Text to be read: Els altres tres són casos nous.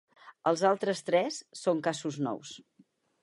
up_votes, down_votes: 4, 0